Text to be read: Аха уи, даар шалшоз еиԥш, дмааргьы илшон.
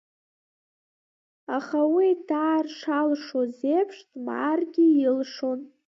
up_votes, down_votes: 0, 2